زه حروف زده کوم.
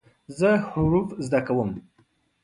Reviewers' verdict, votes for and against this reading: accepted, 2, 0